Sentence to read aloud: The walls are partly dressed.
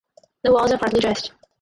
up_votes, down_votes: 4, 2